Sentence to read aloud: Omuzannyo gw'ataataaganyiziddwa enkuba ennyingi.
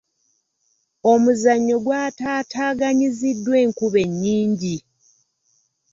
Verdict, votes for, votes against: accepted, 2, 0